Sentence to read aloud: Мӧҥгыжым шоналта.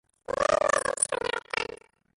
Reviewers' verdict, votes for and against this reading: rejected, 0, 2